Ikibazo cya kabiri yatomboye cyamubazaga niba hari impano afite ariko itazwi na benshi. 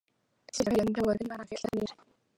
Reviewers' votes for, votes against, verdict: 0, 3, rejected